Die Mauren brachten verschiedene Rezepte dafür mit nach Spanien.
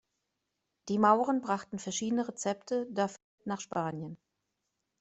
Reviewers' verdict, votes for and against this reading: rejected, 1, 2